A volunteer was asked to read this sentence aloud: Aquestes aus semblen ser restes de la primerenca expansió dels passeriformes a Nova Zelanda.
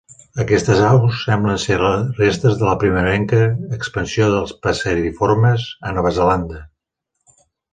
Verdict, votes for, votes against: rejected, 1, 2